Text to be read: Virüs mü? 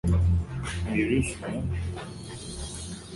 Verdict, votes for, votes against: rejected, 0, 2